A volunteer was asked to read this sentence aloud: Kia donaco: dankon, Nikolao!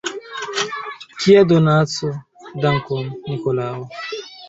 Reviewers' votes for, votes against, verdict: 2, 0, accepted